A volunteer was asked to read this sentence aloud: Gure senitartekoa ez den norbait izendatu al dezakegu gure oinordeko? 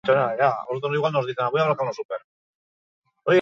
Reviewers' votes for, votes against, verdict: 0, 4, rejected